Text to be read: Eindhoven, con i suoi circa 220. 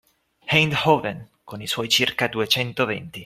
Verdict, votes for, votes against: rejected, 0, 2